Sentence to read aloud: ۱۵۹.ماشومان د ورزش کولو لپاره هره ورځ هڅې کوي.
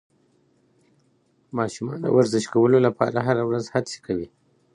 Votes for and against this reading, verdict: 0, 2, rejected